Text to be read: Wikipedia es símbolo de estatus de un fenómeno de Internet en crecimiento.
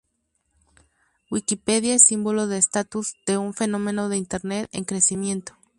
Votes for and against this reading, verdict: 4, 0, accepted